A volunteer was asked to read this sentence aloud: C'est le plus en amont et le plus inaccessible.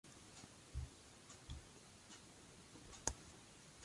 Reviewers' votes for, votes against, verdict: 0, 2, rejected